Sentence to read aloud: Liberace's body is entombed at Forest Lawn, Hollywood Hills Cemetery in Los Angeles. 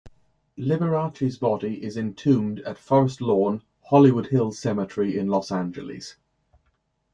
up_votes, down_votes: 2, 0